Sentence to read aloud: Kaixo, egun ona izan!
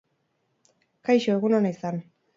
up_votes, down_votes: 4, 0